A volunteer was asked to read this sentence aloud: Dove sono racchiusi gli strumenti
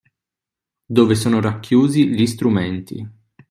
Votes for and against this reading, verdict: 2, 0, accepted